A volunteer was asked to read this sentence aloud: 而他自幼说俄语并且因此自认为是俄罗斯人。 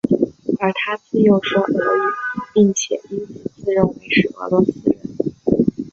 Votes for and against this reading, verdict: 1, 2, rejected